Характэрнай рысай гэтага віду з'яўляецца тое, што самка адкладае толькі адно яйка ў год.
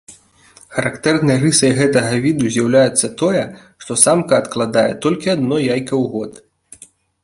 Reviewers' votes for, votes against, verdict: 2, 0, accepted